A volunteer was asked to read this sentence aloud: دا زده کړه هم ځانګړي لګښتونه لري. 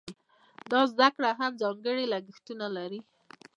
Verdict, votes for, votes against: rejected, 1, 2